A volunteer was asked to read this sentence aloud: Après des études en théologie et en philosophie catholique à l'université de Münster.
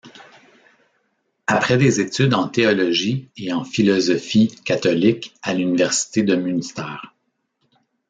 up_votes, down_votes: 2, 0